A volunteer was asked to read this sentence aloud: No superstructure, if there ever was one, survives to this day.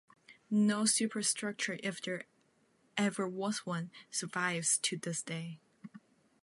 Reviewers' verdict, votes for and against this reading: rejected, 1, 2